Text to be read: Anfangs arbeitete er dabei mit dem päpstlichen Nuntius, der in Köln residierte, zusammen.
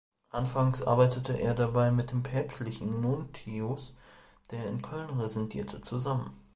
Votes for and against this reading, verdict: 0, 2, rejected